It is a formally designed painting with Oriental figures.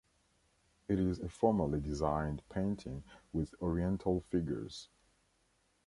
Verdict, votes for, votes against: accepted, 2, 0